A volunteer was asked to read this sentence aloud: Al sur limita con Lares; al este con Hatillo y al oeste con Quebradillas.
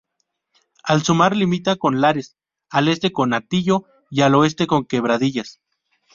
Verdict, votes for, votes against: rejected, 0, 2